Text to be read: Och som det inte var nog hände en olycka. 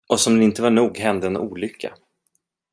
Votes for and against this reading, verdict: 2, 0, accepted